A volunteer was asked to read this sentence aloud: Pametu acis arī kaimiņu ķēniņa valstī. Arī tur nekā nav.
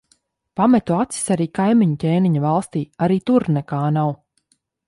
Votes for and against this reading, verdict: 2, 0, accepted